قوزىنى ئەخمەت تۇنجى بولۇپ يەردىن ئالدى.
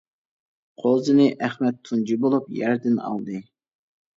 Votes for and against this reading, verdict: 2, 0, accepted